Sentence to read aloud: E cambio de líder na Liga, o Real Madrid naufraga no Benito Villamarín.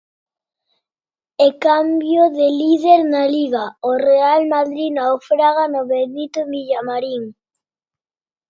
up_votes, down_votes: 2, 1